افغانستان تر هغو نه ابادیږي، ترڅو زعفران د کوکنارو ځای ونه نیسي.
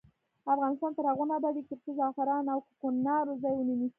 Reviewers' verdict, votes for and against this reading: accepted, 2, 0